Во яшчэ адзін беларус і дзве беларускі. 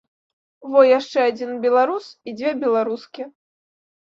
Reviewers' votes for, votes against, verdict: 2, 0, accepted